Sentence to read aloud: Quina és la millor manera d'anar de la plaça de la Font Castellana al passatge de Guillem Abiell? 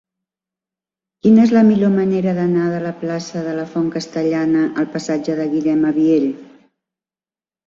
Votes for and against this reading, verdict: 3, 0, accepted